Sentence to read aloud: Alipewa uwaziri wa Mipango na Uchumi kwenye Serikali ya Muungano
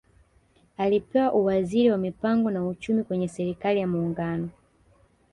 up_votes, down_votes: 2, 0